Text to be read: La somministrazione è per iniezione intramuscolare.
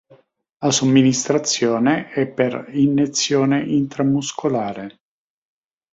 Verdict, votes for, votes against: rejected, 4, 6